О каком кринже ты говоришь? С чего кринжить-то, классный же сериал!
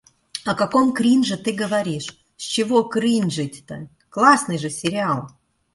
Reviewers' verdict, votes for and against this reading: accepted, 2, 0